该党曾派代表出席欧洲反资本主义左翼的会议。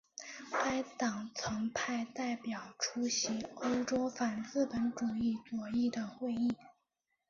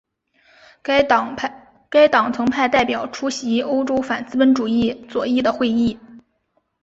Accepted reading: first